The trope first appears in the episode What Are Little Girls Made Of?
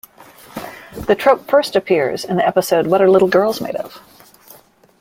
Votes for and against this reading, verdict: 2, 0, accepted